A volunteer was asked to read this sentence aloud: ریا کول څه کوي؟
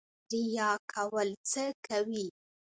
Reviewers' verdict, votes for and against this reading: rejected, 1, 2